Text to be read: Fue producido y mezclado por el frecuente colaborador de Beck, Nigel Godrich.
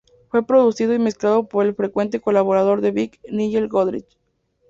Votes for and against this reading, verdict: 2, 0, accepted